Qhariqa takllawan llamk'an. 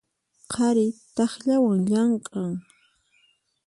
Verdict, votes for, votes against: rejected, 0, 4